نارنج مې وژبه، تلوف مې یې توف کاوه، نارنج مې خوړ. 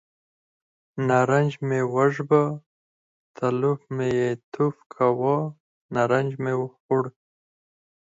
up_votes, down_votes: 4, 2